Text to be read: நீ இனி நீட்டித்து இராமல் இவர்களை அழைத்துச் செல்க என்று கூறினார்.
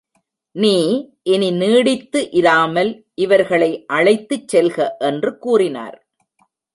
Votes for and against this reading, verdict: 0, 2, rejected